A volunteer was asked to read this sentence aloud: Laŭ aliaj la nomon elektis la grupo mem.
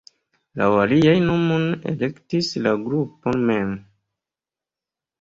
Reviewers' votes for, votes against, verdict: 2, 0, accepted